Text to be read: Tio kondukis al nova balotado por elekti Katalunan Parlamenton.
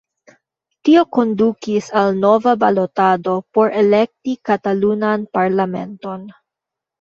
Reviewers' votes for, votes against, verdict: 0, 2, rejected